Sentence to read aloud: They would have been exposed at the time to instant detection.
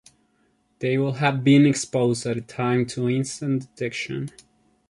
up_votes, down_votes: 0, 2